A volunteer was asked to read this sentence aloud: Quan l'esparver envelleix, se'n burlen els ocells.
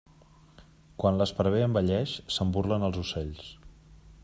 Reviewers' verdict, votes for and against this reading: accepted, 2, 0